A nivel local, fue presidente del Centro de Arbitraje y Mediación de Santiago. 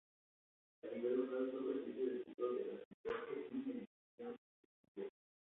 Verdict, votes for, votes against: rejected, 0, 2